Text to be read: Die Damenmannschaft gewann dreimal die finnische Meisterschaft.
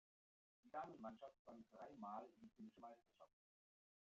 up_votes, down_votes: 0, 2